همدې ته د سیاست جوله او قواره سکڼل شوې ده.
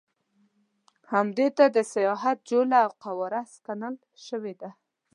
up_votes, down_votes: 1, 2